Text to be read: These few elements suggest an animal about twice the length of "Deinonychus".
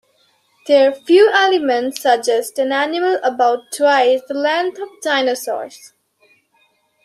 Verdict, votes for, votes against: rejected, 0, 2